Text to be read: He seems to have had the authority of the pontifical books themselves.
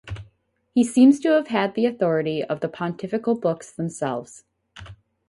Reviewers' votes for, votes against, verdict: 4, 0, accepted